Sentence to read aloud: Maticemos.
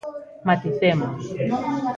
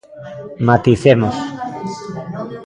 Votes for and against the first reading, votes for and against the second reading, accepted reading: 2, 0, 1, 2, first